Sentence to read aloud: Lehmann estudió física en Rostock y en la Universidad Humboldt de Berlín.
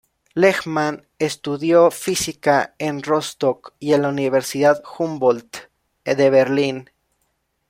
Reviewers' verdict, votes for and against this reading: rejected, 1, 2